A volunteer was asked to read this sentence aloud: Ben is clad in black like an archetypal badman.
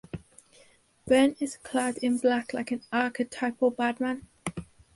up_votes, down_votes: 4, 0